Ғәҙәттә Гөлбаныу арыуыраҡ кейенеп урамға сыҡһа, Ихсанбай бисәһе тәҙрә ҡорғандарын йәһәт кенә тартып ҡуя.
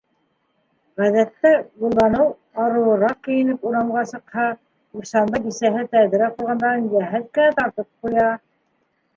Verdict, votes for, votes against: accepted, 2, 1